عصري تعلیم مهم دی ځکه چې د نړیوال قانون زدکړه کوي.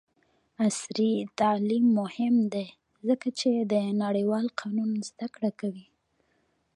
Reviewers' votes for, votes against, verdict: 1, 2, rejected